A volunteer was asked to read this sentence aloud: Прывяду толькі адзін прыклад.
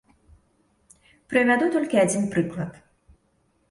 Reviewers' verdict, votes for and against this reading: accepted, 2, 0